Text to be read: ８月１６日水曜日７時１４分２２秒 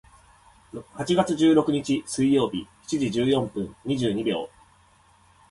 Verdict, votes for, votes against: rejected, 0, 2